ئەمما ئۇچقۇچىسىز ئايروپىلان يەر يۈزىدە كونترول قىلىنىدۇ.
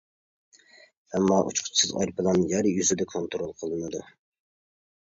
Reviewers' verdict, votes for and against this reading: accepted, 2, 0